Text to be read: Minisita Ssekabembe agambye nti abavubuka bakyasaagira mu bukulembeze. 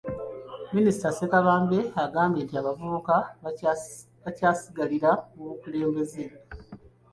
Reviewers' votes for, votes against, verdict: 1, 2, rejected